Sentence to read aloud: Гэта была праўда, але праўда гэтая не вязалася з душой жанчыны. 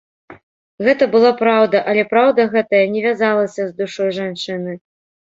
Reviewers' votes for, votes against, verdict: 2, 0, accepted